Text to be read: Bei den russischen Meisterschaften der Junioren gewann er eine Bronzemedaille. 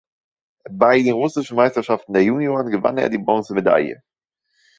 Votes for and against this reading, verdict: 0, 3, rejected